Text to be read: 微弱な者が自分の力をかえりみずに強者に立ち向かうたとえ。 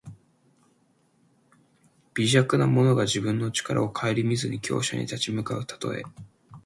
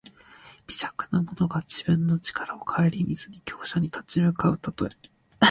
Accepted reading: first